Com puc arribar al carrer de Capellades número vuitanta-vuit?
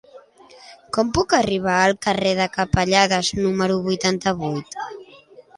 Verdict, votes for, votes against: accepted, 2, 0